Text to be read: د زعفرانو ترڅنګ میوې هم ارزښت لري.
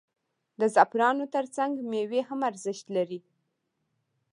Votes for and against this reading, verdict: 1, 2, rejected